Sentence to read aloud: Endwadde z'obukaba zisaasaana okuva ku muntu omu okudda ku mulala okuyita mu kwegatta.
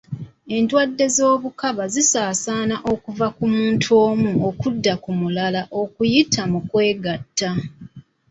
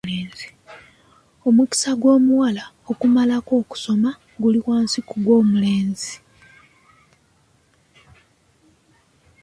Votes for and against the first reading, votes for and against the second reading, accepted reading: 2, 0, 0, 2, first